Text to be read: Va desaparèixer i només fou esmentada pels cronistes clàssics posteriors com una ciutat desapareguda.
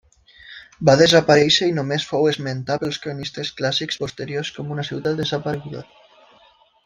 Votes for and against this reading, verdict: 0, 2, rejected